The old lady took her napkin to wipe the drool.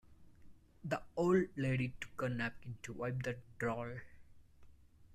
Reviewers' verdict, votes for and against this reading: rejected, 1, 2